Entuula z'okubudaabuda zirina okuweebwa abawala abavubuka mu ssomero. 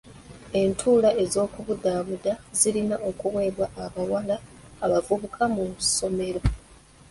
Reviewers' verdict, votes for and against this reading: rejected, 1, 2